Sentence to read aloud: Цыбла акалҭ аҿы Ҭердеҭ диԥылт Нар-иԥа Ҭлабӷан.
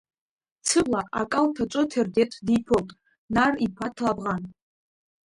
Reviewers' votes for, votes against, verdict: 0, 2, rejected